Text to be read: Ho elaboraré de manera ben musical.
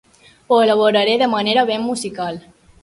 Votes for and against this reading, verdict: 3, 0, accepted